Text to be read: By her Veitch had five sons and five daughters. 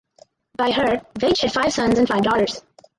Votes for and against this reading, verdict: 2, 4, rejected